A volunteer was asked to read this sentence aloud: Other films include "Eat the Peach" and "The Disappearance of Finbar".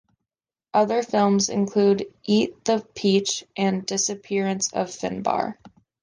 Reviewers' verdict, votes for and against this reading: rejected, 1, 2